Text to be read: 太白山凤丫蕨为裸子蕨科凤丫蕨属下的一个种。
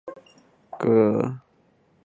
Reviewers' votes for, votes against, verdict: 0, 2, rejected